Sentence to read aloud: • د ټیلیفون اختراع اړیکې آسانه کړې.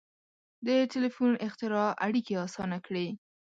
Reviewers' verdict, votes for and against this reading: accepted, 2, 0